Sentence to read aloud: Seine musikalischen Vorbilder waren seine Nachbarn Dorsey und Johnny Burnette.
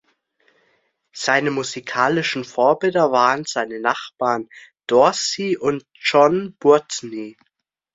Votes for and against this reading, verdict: 0, 2, rejected